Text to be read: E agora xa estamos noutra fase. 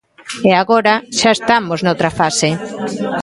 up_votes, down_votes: 1, 2